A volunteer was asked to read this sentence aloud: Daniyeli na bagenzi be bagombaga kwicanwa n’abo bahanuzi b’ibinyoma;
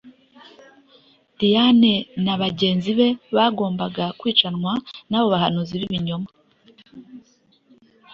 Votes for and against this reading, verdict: 2, 3, rejected